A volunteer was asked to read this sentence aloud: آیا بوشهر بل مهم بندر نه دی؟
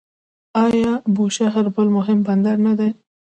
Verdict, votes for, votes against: rejected, 0, 2